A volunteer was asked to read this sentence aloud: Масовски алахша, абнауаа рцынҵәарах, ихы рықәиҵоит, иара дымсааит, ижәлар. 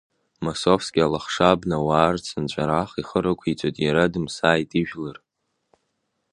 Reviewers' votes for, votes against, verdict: 2, 0, accepted